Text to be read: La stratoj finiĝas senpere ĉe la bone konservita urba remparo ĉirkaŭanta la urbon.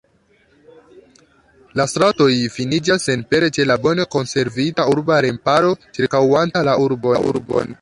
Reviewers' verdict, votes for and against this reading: rejected, 0, 2